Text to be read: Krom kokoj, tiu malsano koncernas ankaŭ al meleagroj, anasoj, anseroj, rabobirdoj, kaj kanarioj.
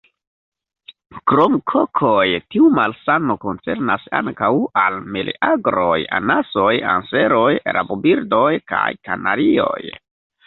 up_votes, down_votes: 2, 1